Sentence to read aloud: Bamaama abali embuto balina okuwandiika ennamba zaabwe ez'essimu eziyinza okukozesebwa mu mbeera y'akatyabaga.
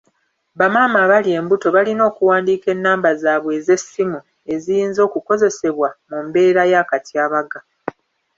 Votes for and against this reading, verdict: 2, 1, accepted